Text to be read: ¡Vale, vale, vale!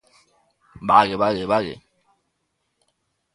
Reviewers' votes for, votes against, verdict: 2, 0, accepted